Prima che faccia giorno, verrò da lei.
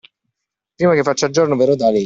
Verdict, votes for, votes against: accepted, 2, 0